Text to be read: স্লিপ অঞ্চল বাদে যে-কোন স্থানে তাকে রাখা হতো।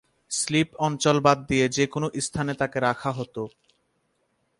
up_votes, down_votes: 2, 2